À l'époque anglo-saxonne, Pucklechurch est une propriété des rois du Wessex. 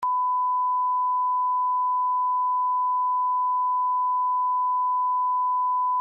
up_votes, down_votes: 0, 2